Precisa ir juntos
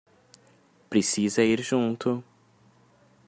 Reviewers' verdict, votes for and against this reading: rejected, 0, 2